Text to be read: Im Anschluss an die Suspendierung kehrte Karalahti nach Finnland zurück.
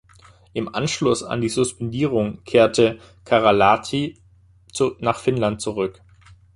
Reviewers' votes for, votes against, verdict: 0, 2, rejected